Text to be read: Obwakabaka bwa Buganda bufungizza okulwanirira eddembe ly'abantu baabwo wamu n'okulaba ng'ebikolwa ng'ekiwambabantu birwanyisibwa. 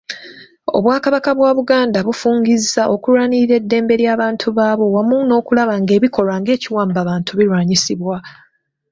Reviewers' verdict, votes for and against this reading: accepted, 2, 0